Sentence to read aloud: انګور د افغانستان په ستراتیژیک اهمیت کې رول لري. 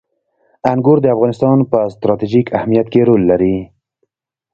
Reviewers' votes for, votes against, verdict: 2, 1, accepted